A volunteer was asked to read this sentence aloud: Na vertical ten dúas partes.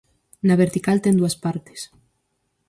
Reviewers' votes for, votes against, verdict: 4, 0, accepted